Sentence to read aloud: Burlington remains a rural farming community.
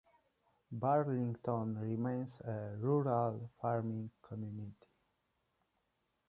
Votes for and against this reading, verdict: 2, 0, accepted